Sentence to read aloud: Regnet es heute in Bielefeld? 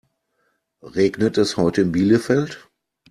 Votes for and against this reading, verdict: 2, 0, accepted